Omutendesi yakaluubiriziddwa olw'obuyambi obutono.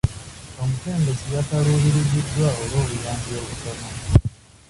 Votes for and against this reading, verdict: 1, 2, rejected